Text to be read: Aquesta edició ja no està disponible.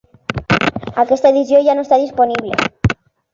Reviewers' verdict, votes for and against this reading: accepted, 2, 0